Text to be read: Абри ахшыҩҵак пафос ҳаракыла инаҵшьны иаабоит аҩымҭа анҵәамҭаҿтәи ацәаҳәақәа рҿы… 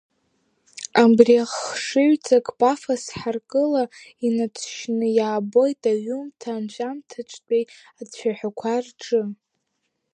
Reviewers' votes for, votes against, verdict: 1, 2, rejected